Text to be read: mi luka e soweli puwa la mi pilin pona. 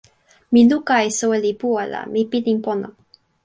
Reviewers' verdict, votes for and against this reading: accepted, 2, 0